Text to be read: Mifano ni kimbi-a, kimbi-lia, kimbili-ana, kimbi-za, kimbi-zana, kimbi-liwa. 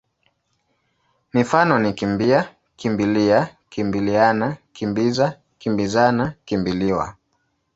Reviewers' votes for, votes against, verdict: 2, 0, accepted